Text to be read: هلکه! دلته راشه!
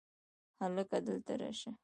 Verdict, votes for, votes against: accepted, 2, 1